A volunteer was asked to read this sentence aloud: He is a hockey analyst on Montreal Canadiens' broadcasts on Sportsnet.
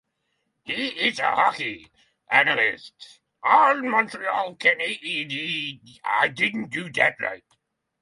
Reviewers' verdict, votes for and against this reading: rejected, 0, 3